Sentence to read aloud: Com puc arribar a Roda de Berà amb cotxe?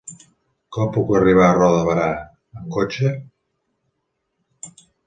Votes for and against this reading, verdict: 1, 2, rejected